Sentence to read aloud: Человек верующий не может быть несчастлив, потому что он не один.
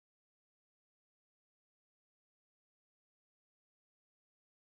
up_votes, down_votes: 0, 14